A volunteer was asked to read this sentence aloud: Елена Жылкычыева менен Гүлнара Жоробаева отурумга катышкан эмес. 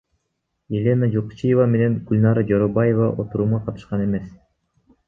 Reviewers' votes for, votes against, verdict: 2, 0, accepted